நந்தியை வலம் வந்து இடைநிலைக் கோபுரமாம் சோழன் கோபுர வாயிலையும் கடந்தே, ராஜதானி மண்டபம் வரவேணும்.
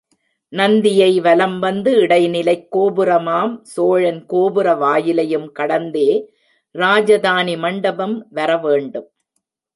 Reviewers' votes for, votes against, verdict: 1, 2, rejected